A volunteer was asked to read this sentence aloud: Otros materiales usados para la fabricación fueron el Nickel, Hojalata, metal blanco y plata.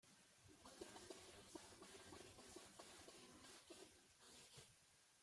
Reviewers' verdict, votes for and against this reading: rejected, 0, 2